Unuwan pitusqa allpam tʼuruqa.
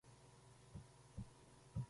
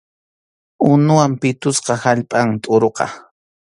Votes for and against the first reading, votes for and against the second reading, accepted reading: 0, 2, 2, 0, second